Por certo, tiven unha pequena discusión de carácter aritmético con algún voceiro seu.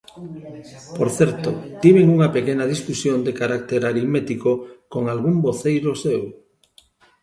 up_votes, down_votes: 2, 0